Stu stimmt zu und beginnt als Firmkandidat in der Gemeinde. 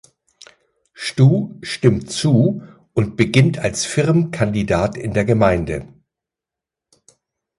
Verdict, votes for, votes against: accepted, 2, 0